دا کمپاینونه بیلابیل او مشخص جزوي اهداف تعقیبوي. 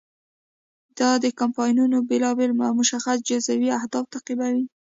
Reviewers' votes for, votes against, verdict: 2, 0, accepted